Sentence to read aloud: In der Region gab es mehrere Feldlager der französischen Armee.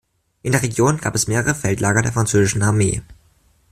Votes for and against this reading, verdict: 2, 0, accepted